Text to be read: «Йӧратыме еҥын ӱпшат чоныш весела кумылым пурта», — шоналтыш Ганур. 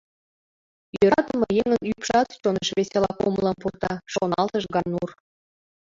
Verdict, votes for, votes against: rejected, 1, 2